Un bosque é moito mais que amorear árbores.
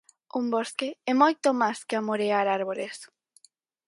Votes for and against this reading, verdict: 4, 2, accepted